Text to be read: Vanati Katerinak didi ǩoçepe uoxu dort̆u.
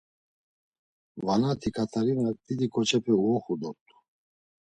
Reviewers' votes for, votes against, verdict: 2, 0, accepted